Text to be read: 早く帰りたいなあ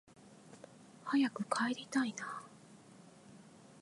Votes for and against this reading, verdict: 2, 3, rejected